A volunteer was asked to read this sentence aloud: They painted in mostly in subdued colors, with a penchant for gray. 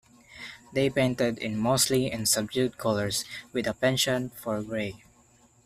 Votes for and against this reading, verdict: 0, 2, rejected